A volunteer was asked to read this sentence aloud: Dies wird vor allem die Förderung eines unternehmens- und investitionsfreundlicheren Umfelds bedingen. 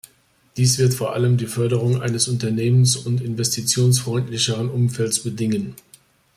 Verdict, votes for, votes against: accepted, 2, 0